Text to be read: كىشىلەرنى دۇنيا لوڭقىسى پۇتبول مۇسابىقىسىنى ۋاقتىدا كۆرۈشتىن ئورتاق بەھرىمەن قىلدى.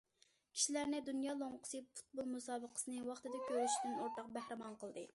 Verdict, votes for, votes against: accepted, 2, 0